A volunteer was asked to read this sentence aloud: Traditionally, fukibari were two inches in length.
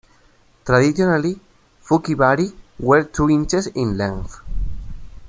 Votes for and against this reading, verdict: 2, 1, accepted